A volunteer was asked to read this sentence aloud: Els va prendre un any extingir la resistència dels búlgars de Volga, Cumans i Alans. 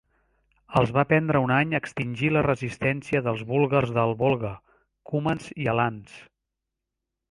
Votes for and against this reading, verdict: 0, 3, rejected